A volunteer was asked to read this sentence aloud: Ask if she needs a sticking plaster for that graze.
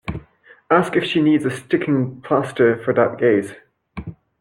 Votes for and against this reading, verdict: 0, 2, rejected